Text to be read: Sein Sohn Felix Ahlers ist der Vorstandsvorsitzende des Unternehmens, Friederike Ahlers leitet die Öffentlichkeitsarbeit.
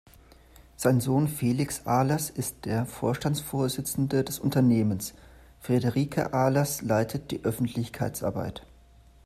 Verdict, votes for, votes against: rejected, 1, 2